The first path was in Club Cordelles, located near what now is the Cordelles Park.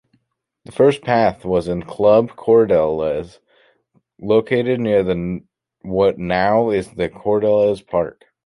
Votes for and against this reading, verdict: 1, 2, rejected